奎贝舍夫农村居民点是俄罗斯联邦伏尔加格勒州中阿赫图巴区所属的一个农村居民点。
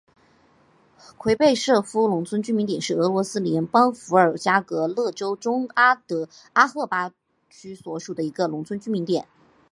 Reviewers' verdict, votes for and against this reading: accepted, 3, 0